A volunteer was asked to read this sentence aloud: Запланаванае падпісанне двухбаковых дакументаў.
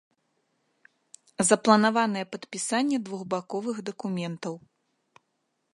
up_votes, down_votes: 2, 0